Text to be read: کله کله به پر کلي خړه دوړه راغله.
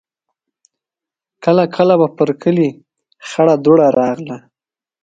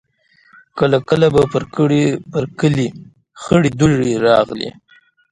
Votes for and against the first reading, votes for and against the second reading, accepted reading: 2, 0, 1, 2, first